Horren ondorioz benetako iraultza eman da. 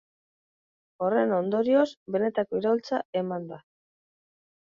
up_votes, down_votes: 5, 0